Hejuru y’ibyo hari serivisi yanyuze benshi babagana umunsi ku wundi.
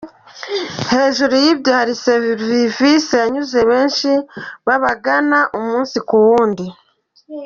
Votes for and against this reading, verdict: 2, 0, accepted